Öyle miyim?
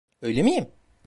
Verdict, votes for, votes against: accepted, 2, 0